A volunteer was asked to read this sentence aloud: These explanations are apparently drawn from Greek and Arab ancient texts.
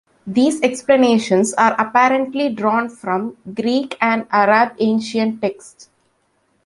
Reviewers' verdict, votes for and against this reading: rejected, 1, 2